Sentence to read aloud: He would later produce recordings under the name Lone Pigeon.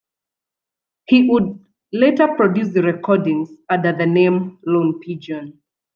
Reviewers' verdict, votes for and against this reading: rejected, 1, 2